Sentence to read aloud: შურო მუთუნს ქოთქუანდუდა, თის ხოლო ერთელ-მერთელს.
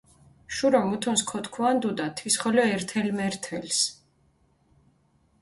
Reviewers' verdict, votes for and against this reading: accepted, 2, 0